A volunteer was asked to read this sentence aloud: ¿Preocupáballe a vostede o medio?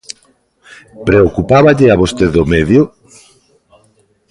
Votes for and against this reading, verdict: 2, 0, accepted